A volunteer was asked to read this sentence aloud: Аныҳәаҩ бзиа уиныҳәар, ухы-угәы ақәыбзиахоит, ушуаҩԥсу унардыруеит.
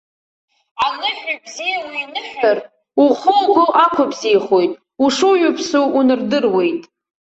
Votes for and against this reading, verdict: 1, 2, rejected